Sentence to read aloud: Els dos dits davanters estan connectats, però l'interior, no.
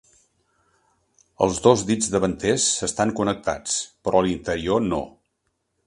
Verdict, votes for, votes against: accepted, 3, 0